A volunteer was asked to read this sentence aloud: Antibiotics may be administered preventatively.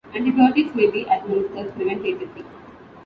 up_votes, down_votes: 1, 2